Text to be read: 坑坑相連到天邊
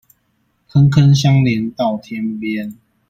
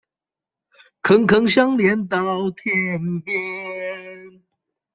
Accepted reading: first